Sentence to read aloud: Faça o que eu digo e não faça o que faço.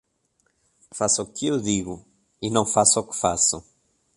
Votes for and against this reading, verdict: 2, 0, accepted